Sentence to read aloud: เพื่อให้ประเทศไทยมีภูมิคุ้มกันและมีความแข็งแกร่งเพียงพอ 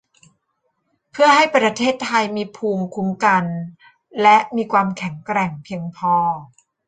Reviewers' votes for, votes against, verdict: 2, 0, accepted